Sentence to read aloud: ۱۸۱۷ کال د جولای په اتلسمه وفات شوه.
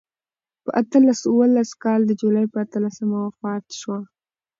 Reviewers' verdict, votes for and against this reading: rejected, 0, 2